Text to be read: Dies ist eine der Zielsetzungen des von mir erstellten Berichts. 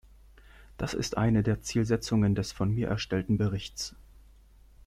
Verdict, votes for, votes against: rejected, 1, 3